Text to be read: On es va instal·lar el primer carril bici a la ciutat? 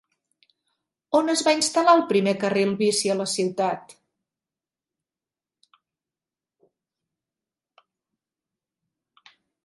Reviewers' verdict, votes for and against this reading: accepted, 2, 0